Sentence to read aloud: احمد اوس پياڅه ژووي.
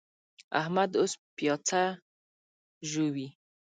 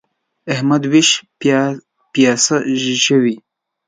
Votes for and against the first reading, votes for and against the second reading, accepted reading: 2, 0, 0, 2, first